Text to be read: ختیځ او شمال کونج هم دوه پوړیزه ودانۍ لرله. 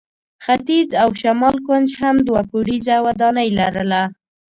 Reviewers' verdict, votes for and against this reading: rejected, 0, 2